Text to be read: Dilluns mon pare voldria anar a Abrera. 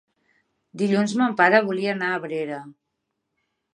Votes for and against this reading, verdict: 1, 2, rejected